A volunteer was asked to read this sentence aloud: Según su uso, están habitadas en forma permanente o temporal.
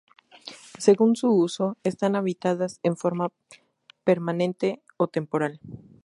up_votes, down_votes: 2, 0